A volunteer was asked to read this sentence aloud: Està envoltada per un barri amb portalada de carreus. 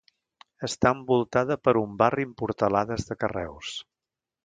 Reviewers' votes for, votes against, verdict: 0, 2, rejected